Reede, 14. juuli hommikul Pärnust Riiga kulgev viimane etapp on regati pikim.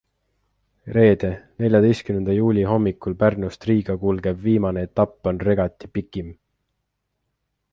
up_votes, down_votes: 0, 2